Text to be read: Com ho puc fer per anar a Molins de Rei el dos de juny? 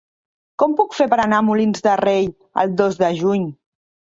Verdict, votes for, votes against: rejected, 1, 3